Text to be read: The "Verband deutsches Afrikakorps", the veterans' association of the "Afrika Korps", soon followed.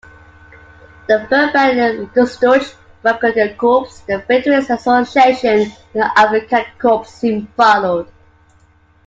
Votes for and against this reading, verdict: 0, 2, rejected